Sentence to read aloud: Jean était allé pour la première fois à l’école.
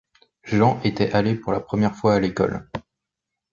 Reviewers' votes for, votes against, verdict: 2, 0, accepted